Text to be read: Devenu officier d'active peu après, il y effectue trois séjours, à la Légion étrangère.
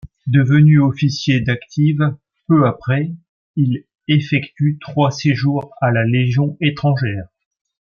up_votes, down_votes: 1, 2